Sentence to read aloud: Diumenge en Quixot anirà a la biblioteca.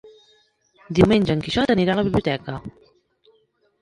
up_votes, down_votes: 0, 2